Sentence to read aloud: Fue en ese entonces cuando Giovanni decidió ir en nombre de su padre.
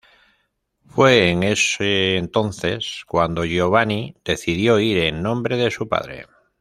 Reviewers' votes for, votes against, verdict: 2, 0, accepted